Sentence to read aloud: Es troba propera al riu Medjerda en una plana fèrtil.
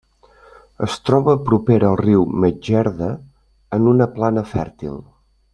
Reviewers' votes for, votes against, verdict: 2, 0, accepted